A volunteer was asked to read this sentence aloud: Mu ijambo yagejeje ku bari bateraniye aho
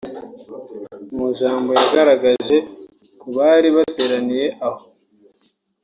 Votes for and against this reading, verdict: 0, 2, rejected